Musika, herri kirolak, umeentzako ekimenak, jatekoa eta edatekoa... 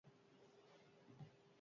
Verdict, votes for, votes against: rejected, 0, 6